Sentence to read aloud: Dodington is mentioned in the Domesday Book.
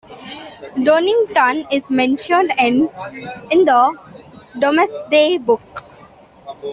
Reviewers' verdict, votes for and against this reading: rejected, 0, 2